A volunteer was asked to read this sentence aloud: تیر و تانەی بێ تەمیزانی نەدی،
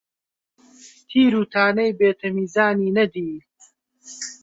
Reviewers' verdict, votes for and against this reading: accepted, 2, 0